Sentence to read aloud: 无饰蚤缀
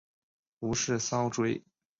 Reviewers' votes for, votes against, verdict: 2, 1, accepted